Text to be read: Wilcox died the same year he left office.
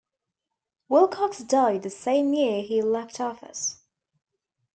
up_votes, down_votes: 2, 0